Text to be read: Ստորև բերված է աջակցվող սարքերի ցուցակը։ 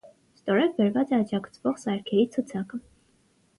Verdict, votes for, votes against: accepted, 6, 0